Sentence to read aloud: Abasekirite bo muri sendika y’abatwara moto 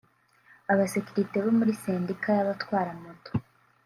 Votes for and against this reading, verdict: 0, 2, rejected